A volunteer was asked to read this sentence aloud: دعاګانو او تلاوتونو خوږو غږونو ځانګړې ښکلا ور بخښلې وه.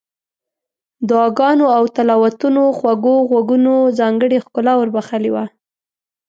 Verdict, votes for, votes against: rejected, 1, 2